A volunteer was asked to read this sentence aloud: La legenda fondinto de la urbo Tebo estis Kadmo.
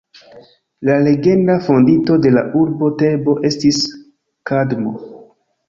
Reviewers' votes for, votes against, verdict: 1, 2, rejected